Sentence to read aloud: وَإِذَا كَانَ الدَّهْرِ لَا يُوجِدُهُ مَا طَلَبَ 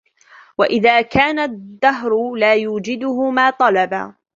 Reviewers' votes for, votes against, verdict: 2, 1, accepted